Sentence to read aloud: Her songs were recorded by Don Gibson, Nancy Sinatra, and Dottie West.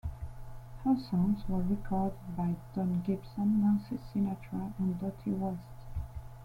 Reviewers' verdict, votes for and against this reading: accepted, 2, 0